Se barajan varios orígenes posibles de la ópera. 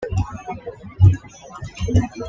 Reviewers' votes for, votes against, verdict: 1, 2, rejected